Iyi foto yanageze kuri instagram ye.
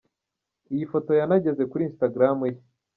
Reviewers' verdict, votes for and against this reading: rejected, 1, 2